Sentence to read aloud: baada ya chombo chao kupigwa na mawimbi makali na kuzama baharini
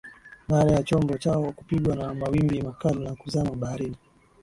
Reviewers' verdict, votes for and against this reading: accepted, 10, 0